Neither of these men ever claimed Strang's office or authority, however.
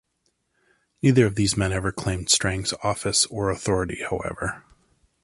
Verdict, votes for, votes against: accepted, 2, 0